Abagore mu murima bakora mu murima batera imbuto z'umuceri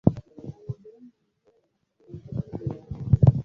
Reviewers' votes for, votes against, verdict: 0, 2, rejected